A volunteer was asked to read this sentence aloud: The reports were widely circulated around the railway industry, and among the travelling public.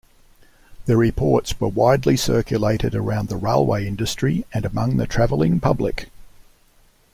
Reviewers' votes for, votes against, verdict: 2, 0, accepted